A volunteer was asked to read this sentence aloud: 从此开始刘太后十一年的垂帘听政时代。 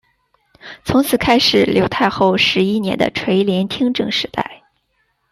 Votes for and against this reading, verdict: 2, 0, accepted